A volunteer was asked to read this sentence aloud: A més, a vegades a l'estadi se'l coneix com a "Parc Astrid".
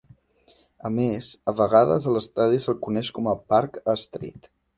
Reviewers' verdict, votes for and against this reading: accepted, 2, 0